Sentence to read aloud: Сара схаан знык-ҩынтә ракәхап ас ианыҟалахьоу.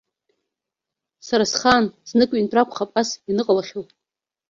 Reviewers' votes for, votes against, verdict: 2, 0, accepted